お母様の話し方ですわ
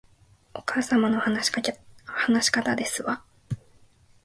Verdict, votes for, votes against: rejected, 1, 2